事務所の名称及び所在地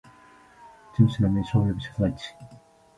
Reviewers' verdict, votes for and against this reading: rejected, 1, 2